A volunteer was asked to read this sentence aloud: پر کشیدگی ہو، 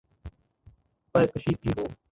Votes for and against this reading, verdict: 1, 3, rejected